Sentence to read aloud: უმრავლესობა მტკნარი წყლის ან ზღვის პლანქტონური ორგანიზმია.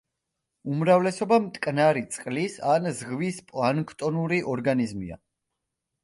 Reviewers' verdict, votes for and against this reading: accepted, 2, 0